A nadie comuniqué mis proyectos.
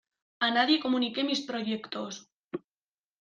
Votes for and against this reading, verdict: 2, 0, accepted